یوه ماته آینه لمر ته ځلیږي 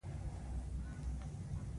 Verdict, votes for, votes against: accepted, 2, 1